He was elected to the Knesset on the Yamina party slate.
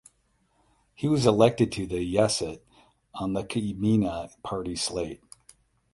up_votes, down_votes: 4, 4